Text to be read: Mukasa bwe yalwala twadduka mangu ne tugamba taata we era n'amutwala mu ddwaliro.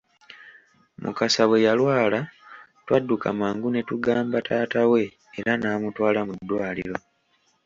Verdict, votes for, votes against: accepted, 2, 0